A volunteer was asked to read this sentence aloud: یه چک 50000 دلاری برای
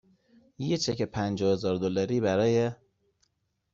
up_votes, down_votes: 0, 2